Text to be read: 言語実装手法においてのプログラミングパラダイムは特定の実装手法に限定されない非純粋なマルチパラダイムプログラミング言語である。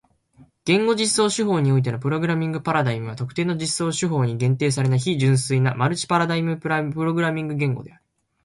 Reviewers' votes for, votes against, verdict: 2, 0, accepted